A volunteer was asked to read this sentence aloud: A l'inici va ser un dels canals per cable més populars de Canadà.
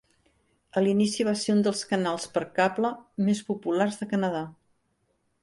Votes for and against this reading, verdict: 3, 0, accepted